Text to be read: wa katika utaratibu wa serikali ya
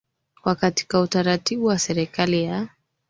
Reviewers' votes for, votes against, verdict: 2, 1, accepted